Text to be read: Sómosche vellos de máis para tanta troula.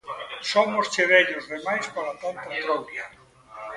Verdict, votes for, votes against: rejected, 0, 2